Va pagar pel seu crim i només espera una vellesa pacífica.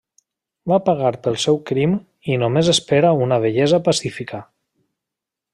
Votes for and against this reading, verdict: 2, 0, accepted